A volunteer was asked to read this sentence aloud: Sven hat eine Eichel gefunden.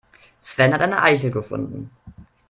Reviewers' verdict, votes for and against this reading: accepted, 2, 0